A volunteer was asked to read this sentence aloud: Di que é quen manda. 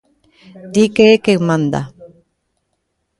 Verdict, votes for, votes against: rejected, 1, 2